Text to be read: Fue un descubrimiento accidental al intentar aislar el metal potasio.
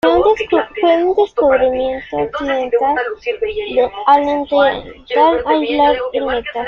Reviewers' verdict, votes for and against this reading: rejected, 0, 2